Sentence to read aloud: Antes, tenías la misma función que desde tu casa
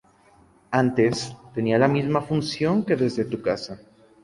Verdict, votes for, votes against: rejected, 2, 2